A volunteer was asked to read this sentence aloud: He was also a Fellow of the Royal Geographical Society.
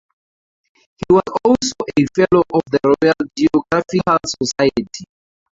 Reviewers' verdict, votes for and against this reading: rejected, 0, 2